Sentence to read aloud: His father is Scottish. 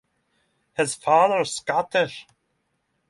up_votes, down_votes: 3, 0